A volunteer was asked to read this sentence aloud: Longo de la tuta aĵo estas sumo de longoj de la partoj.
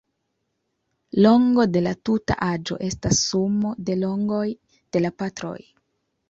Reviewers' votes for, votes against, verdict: 1, 2, rejected